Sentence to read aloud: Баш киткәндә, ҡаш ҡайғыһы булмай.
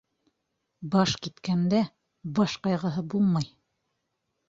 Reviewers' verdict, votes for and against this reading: rejected, 1, 2